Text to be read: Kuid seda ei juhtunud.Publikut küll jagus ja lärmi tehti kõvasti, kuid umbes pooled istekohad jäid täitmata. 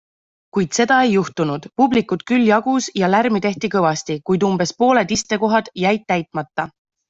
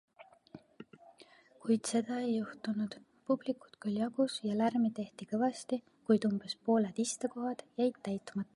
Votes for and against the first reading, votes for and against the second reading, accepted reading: 2, 0, 1, 2, first